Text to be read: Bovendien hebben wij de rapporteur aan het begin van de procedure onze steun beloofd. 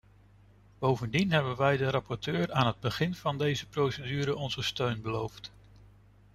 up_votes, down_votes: 1, 2